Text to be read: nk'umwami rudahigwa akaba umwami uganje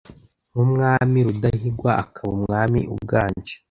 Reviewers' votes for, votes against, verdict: 2, 0, accepted